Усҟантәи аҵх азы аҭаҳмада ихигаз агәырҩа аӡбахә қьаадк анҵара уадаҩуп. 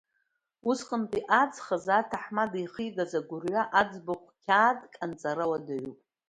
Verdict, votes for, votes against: accepted, 2, 0